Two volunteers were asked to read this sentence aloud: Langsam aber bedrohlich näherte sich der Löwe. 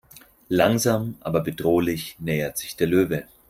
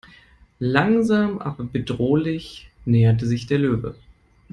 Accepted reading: second